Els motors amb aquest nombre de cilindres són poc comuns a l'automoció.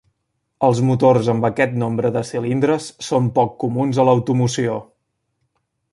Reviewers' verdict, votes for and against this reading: accepted, 3, 0